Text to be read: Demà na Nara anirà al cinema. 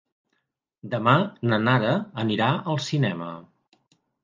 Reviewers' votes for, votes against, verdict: 2, 1, accepted